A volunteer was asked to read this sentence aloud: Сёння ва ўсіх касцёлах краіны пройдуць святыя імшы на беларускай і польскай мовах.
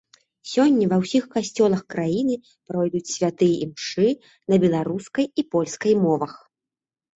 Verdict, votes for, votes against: rejected, 1, 2